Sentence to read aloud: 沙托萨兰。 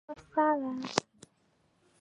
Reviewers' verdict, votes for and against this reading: rejected, 2, 3